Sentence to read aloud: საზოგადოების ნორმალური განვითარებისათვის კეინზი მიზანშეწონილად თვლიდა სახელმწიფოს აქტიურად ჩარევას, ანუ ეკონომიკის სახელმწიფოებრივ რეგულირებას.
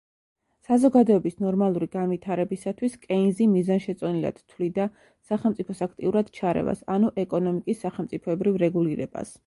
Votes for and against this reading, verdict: 1, 2, rejected